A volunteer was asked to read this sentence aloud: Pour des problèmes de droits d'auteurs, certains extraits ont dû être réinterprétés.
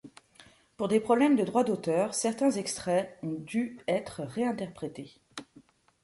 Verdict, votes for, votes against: accepted, 2, 0